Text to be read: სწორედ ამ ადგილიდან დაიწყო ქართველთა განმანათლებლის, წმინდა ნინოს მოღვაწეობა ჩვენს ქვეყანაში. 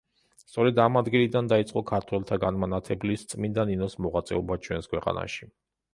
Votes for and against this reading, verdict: 0, 2, rejected